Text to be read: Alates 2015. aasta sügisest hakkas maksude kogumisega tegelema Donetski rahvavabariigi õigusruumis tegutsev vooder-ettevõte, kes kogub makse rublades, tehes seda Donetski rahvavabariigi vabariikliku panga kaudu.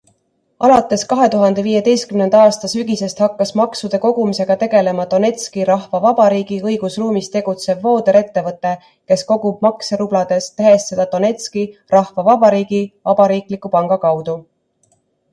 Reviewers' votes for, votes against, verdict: 0, 2, rejected